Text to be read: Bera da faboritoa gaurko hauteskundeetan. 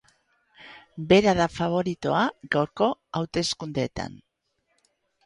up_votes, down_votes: 2, 0